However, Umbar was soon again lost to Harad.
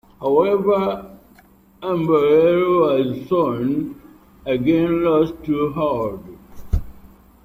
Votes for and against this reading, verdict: 0, 3, rejected